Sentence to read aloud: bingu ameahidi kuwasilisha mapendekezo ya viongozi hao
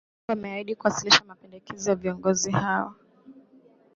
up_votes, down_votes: 1, 2